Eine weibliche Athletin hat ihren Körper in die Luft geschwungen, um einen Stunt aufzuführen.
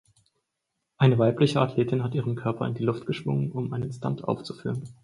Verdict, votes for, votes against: accepted, 4, 0